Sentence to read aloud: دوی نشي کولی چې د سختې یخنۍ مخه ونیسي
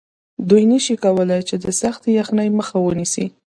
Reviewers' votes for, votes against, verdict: 2, 1, accepted